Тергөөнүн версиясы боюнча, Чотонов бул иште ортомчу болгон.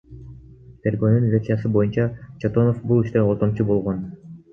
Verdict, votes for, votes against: accepted, 2, 0